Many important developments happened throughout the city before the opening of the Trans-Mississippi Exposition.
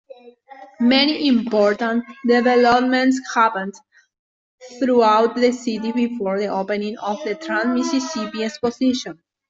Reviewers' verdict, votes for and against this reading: rejected, 1, 2